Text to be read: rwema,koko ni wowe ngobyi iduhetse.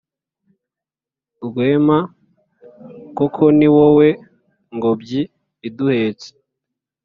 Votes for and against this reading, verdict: 3, 0, accepted